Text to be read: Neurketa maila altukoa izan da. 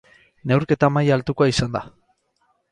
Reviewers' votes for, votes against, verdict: 6, 0, accepted